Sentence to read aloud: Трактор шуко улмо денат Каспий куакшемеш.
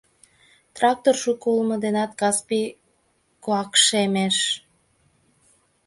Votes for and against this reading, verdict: 2, 0, accepted